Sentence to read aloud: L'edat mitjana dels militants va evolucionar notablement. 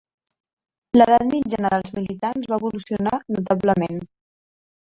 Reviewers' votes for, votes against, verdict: 2, 1, accepted